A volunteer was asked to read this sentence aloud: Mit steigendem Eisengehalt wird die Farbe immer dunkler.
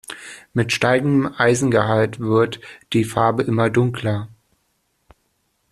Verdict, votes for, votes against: accepted, 2, 0